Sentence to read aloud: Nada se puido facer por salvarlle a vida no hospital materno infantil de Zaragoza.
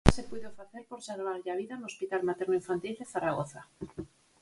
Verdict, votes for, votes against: accepted, 4, 0